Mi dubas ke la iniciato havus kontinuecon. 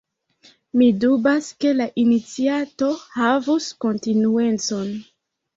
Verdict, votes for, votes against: accepted, 2, 0